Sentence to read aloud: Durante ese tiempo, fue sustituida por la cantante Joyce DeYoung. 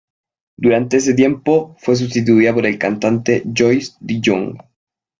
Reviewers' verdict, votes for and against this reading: rejected, 0, 2